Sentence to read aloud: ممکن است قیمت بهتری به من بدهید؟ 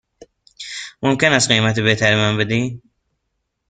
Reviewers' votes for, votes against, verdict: 1, 2, rejected